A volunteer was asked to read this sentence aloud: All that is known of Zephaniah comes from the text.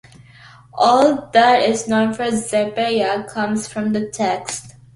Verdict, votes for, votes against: accepted, 2, 1